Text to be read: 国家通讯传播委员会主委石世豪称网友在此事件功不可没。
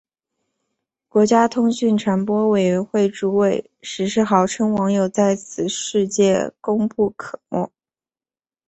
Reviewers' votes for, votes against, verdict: 3, 1, accepted